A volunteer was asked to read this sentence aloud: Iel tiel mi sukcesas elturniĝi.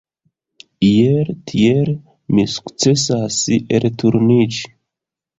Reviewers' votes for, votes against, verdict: 1, 2, rejected